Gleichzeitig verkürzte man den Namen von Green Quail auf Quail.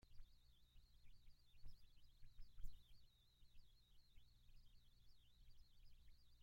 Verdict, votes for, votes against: rejected, 0, 2